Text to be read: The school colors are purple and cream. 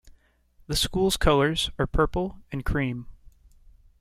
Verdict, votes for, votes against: rejected, 0, 2